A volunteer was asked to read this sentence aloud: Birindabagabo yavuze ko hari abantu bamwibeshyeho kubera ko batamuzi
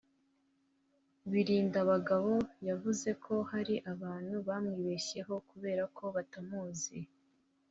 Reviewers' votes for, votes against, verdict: 3, 0, accepted